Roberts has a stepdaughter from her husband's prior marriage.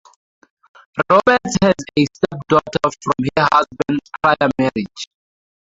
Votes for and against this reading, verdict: 0, 2, rejected